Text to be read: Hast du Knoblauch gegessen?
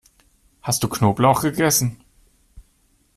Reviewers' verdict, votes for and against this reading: accepted, 2, 0